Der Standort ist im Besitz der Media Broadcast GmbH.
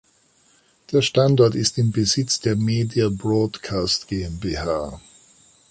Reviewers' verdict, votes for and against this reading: accepted, 2, 0